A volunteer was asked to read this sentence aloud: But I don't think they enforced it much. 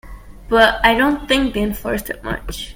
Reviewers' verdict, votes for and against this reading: accepted, 2, 0